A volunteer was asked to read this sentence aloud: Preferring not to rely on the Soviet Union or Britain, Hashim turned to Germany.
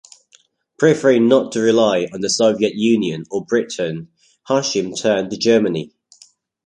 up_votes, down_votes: 2, 0